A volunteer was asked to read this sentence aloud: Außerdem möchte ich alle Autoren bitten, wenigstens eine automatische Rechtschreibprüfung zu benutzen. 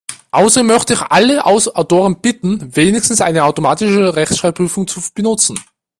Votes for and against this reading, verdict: 0, 2, rejected